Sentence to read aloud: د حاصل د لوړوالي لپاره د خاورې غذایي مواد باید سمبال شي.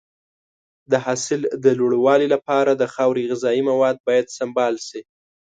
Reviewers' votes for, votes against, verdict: 2, 0, accepted